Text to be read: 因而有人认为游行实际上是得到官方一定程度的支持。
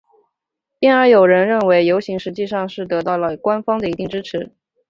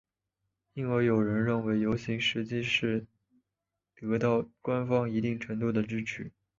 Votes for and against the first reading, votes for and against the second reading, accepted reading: 1, 3, 3, 2, second